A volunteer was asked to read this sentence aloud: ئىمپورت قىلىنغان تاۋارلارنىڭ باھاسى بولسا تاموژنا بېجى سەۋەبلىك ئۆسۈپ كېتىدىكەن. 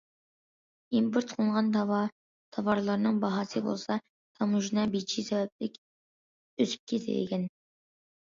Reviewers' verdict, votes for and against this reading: rejected, 0, 2